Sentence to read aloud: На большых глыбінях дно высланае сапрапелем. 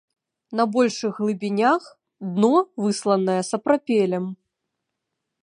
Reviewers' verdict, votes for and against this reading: accepted, 3, 1